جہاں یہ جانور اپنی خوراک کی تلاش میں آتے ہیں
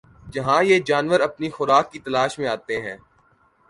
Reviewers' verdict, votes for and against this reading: accepted, 2, 0